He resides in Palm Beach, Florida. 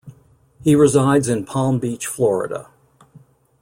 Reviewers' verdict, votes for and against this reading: accepted, 2, 0